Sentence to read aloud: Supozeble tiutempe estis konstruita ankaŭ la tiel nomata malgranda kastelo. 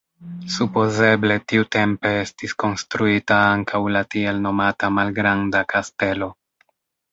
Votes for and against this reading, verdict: 1, 2, rejected